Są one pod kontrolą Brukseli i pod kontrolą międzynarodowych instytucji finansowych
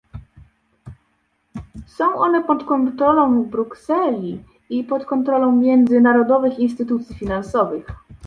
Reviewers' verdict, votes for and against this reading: accepted, 2, 0